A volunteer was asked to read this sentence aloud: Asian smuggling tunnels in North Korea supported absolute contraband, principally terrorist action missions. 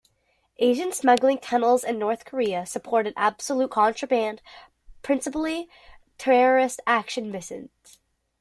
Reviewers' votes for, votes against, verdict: 2, 1, accepted